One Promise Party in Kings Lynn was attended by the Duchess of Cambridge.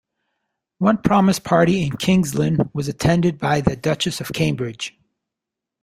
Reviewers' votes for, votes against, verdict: 2, 0, accepted